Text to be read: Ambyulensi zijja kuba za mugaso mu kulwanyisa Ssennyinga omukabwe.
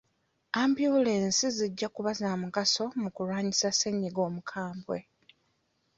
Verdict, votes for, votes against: accepted, 2, 0